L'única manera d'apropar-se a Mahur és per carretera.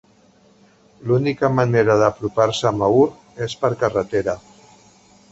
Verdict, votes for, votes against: accepted, 6, 0